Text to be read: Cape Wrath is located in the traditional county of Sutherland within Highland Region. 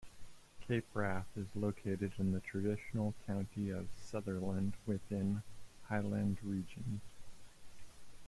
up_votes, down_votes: 2, 1